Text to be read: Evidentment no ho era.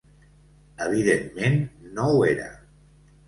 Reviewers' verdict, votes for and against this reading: accepted, 2, 0